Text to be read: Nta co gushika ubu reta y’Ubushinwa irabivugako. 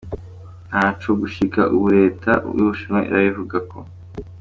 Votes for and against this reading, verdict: 2, 0, accepted